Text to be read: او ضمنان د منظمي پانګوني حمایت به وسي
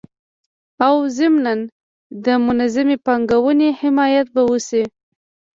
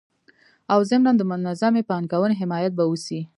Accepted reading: first